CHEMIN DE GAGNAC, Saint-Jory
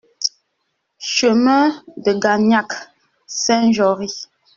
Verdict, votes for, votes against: accepted, 2, 0